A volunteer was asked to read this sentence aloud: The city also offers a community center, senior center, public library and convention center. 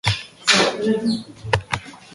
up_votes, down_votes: 0, 4